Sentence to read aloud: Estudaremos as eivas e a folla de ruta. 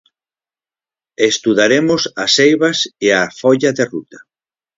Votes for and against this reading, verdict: 4, 0, accepted